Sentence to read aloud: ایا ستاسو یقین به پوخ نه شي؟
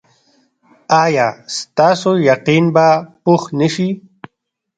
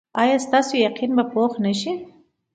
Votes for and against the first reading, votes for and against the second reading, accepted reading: 1, 2, 2, 0, second